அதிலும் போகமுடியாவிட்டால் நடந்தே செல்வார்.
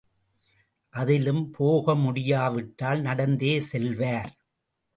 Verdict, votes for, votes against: rejected, 1, 2